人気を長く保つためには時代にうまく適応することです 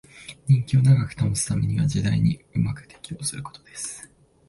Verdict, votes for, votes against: accepted, 4, 0